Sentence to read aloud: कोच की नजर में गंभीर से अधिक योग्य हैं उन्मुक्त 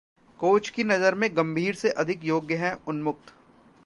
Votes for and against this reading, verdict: 2, 0, accepted